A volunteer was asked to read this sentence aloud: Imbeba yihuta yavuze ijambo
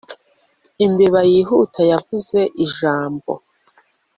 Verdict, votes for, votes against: accepted, 2, 0